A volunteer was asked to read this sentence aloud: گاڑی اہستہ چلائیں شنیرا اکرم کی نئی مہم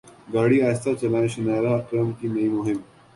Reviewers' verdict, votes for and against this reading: accepted, 3, 0